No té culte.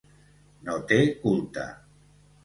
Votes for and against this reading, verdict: 2, 0, accepted